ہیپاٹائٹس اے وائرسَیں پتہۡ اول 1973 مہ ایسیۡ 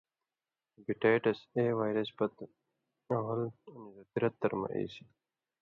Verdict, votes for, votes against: rejected, 0, 2